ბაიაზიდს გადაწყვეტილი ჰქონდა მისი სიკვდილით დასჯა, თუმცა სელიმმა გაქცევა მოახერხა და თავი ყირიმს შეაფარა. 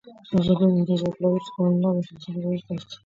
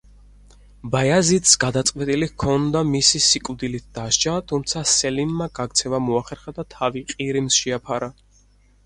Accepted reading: second